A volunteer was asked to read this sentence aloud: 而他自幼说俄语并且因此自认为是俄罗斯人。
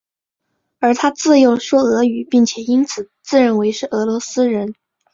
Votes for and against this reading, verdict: 2, 0, accepted